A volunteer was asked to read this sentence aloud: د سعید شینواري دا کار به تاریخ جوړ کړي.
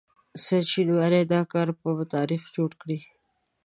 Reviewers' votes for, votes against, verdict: 1, 2, rejected